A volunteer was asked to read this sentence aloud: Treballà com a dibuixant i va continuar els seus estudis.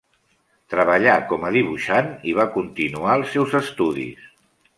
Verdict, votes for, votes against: accepted, 3, 0